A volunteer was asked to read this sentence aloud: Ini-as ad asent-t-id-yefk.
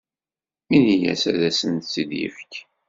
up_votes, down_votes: 2, 0